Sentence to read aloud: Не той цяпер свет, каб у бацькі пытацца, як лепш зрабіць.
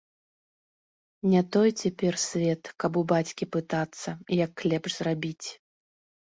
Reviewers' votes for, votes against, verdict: 2, 0, accepted